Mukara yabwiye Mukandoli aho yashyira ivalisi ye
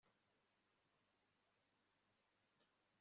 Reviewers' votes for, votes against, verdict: 1, 2, rejected